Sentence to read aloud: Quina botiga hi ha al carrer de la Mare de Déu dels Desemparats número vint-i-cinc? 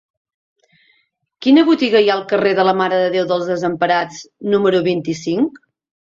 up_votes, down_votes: 3, 0